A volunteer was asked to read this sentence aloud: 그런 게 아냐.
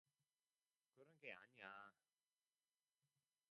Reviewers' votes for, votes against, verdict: 0, 2, rejected